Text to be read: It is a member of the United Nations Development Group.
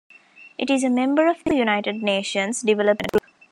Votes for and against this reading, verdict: 1, 2, rejected